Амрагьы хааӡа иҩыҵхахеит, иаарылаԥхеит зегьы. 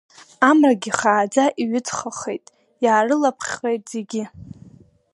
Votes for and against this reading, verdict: 2, 1, accepted